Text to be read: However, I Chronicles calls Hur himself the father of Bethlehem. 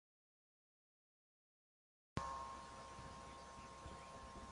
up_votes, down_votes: 0, 2